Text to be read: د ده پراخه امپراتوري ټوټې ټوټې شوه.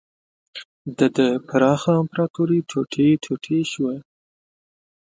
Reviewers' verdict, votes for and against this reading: accepted, 2, 0